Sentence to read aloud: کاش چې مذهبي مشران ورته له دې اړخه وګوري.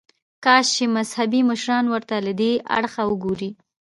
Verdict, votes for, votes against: accepted, 2, 0